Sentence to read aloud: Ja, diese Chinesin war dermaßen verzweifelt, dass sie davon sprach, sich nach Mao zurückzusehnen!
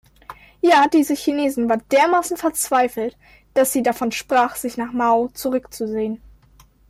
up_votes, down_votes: 2, 0